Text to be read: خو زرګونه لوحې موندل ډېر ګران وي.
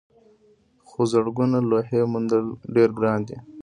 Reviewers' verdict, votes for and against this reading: accepted, 2, 0